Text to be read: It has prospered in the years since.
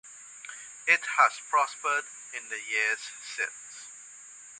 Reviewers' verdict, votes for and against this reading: accepted, 3, 0